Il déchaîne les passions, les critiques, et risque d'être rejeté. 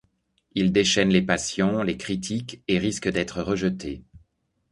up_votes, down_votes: 2, 0